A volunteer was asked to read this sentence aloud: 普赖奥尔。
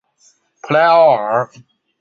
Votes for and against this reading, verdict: 2, 0, accepted